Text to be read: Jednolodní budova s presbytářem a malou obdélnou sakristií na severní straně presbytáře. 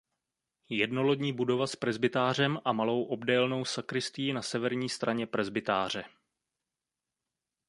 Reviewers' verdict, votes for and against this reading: accepted, 2, 0